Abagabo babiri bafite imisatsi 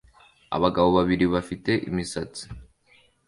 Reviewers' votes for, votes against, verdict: 2, 0, accepted